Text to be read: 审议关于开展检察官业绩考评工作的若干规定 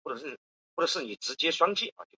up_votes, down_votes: 0, 2